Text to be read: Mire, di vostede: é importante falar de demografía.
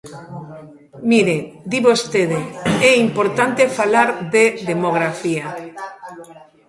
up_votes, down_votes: 1, 2